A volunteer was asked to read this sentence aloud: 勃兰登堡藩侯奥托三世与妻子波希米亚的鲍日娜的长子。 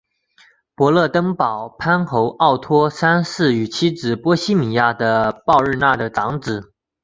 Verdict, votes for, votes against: accepted, 3, 0